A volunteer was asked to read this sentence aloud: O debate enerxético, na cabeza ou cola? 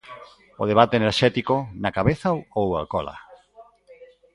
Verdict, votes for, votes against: rejected, 0, 3